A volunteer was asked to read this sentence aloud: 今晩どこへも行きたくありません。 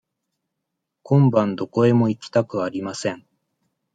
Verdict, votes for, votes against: accepted, 2, 0